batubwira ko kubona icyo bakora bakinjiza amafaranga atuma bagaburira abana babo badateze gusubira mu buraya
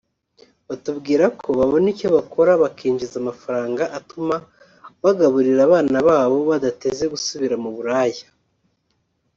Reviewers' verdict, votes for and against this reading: rejected, 0, 2